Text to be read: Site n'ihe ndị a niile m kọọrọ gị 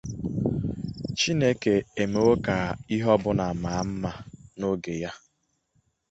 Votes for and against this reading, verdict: 0, 2, rejected